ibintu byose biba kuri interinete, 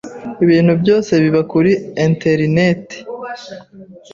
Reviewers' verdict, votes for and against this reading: accepted, 3, 0